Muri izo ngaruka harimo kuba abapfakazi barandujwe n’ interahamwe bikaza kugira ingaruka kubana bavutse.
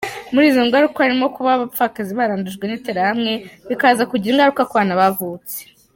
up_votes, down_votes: 2, 0